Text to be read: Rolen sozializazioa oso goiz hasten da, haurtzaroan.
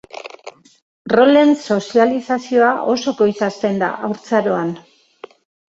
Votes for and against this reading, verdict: 2, 0, accepted